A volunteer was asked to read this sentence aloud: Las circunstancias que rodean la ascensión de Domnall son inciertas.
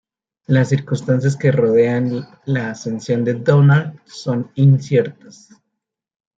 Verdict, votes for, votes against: accepted, 2, 0